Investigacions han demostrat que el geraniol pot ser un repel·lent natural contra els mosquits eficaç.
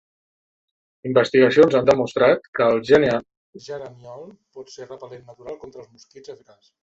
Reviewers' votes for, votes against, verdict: 0, 3, rejected